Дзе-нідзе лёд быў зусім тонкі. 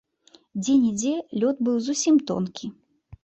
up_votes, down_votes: 2, 0